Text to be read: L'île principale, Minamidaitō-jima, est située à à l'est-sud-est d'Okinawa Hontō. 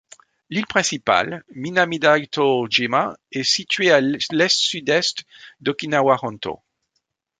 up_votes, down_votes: 2, 0